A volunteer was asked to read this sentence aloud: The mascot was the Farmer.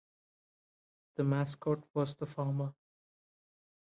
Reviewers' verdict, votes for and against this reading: accepted, 2, 0